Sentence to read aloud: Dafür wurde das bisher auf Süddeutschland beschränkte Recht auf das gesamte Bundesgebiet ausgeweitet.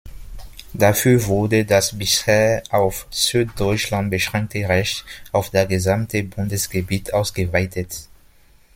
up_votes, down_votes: 0, 2